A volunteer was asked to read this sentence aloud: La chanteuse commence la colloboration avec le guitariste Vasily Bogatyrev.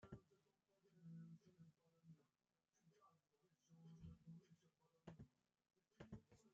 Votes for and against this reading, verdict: 0, 2, rejected